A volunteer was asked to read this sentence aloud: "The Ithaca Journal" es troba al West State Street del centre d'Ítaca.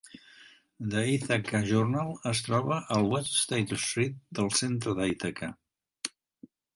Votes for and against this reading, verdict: 1, 2, rejected